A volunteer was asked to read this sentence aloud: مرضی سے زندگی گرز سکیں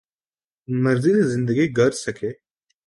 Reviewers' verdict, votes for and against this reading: rejected, 1, 2